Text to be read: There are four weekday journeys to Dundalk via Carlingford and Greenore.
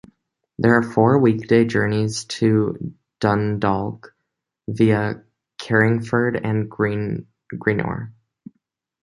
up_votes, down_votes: 1, 3